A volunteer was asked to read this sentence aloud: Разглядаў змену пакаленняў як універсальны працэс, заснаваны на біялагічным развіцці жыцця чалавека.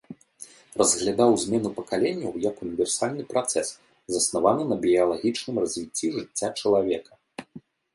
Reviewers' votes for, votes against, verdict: 2, 0, accepted